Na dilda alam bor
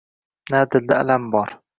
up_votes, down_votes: 2, 0